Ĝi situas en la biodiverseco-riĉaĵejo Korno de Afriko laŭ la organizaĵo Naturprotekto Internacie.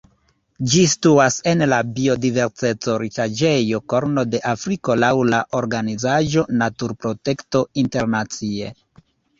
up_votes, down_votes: 1, 2